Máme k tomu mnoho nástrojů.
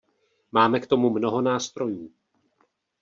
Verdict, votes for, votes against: accepted, 2, 0